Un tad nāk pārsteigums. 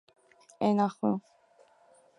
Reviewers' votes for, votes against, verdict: 0, 2, rejected